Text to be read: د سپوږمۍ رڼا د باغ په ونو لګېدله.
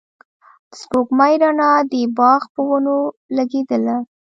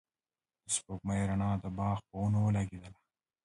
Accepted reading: second